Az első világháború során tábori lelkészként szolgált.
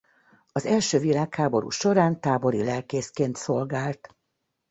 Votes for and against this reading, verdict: 2, 0, accepted